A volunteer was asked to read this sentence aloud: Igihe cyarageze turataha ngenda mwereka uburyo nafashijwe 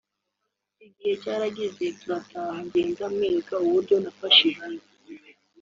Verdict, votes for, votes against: accepted, 2, 0